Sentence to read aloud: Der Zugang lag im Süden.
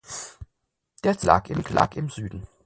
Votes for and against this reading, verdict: 0, 4, rejected